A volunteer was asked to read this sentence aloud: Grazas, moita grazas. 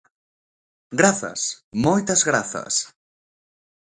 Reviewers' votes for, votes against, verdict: 1, 2, rejected